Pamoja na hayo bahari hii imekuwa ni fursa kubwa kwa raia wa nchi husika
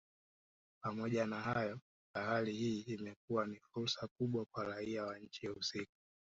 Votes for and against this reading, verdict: 1, 4, rejected